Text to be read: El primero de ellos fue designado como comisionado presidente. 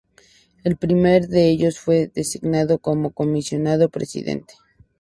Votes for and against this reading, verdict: 0, 2, rejected